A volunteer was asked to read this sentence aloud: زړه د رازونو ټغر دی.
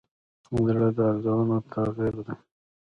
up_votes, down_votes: 1, 2